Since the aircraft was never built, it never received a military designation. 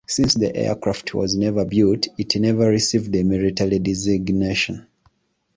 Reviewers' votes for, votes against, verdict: 2, 0, accepted